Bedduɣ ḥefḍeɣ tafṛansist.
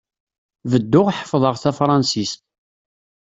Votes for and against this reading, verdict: 2, 0, accepted